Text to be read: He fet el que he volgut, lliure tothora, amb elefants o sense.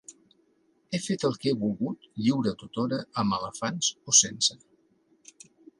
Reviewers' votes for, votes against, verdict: 2, 0, accepted